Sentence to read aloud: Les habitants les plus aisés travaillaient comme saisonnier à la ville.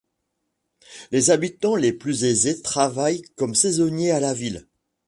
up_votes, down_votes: 1, 2